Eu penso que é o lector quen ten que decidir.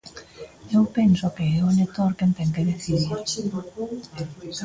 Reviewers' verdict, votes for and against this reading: rejected, 1, 2